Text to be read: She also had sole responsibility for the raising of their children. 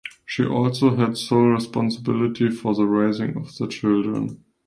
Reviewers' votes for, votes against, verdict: 2, 0, accepted